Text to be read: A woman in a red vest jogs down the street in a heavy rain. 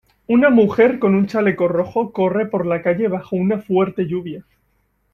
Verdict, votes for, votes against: rejected, 0, 2